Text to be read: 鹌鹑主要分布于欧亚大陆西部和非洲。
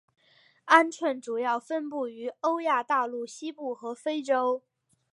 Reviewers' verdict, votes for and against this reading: accepted, 2, 0